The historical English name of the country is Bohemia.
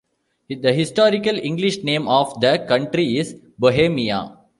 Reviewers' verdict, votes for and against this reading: accepted, 2, 0